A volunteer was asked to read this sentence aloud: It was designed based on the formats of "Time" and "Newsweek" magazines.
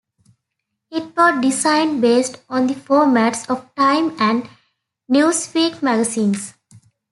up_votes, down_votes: 2, 0